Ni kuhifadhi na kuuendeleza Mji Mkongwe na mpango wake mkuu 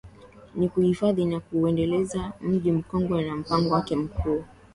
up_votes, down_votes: 7, 0